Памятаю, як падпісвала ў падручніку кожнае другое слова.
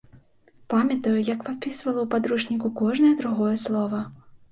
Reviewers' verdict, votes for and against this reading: accepted, 2, 0